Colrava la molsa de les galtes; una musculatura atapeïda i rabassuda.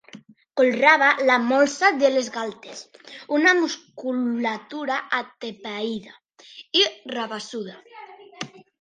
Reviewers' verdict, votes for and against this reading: rejected, 0, 2